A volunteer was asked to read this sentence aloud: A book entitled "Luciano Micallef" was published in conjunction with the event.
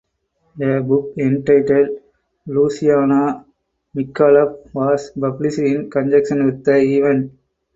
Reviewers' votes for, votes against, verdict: 6, 2, accepted